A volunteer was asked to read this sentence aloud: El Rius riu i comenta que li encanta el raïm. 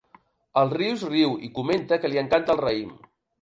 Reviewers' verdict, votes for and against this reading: accepted, 2, 0